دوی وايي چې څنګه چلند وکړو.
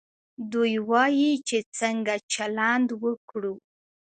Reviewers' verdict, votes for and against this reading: accepted, 2, 0